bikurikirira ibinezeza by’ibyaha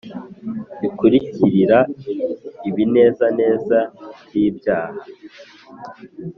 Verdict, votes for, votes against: rejected, 2, 2